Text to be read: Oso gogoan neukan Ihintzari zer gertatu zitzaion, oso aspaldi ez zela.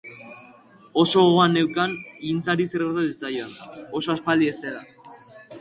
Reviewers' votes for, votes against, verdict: 2, 2, rejected